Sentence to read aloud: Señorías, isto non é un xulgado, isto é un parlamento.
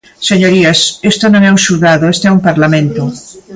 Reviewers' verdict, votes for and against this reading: accepted, 2, 0